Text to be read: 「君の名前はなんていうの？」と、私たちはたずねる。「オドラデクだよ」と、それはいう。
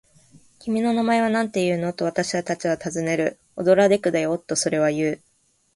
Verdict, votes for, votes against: accepted, 2, 0